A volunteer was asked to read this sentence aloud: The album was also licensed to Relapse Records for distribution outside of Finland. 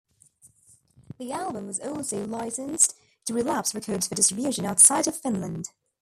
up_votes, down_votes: 0, 2